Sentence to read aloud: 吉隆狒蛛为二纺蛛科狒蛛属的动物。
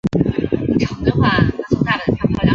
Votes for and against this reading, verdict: 1, 2, rejected